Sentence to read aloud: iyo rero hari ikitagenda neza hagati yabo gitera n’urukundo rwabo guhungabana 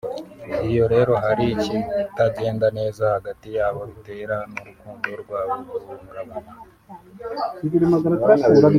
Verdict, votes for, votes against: rejected, 1, 2